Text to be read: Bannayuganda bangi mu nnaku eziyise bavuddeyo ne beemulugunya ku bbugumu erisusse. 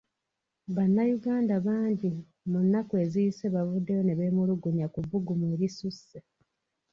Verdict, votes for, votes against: accepted, 2, 1